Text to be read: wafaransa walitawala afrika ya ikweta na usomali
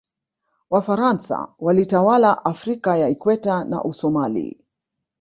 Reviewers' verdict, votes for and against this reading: accepted, 2, 1